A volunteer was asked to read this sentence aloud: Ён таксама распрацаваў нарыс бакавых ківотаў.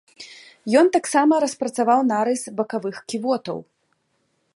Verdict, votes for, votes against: rejected, 1, 2